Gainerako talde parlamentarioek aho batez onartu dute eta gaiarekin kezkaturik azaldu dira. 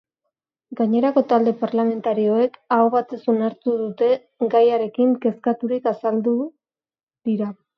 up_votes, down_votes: 0, 2